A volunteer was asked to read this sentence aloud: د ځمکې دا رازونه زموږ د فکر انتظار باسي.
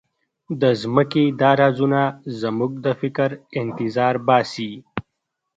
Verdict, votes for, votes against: accepted, 2, 1